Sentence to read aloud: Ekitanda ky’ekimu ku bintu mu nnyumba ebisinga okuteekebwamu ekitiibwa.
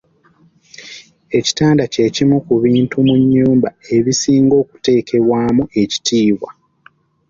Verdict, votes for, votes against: accepted, 2, 0